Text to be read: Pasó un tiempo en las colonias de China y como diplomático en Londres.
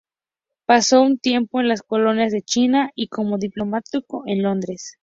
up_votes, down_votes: 2, 0